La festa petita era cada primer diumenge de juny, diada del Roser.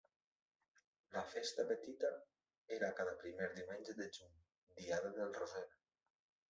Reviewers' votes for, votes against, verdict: 3, 1, accepted